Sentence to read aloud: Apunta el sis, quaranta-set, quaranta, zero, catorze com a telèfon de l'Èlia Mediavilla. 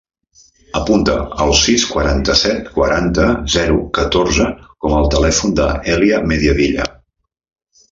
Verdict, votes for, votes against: rejected, 0, 2